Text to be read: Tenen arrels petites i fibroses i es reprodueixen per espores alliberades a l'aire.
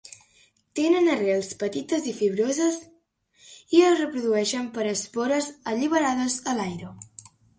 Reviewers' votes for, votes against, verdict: 2, 0, accepted